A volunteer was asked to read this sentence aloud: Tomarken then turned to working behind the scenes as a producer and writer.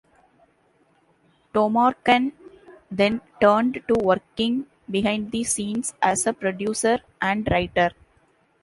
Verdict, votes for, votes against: accepted, 2, 0